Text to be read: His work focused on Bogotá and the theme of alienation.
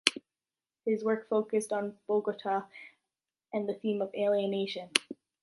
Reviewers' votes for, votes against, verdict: 1, 2, rejected